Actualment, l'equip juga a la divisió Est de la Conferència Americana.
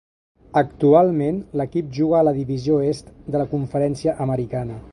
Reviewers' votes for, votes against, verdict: 2, 0, accepted